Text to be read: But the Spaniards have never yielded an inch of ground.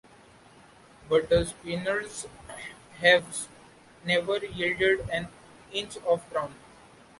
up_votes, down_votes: 2, 1